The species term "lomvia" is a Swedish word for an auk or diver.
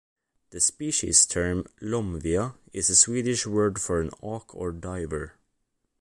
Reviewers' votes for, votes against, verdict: 2, 0, accepted